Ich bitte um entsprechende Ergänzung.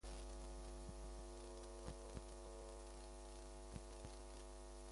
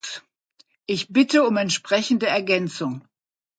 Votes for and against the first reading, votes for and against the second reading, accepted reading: 0, 2, 2, 0, second